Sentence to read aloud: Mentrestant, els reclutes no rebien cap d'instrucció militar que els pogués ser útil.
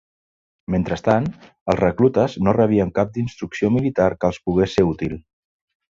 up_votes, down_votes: 2, 0